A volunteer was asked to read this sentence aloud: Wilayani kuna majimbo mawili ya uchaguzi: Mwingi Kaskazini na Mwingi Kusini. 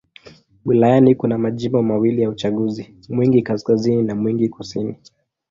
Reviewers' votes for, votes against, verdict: 2, 0, accepted